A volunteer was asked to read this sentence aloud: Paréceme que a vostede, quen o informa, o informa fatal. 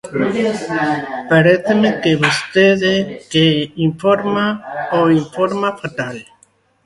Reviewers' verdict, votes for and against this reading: rejected, 0, 2